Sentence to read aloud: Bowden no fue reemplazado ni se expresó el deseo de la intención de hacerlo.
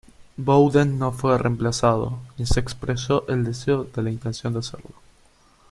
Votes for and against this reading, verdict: 2, 0, accepted